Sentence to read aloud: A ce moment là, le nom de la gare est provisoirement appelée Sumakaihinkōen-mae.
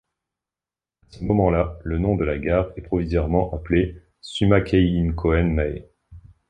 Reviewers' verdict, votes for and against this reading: rejected, 2, 3